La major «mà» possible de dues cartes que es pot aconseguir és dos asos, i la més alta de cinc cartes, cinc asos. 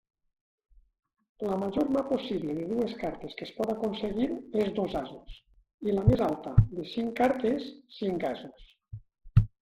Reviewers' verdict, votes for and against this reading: accepted, 2, 0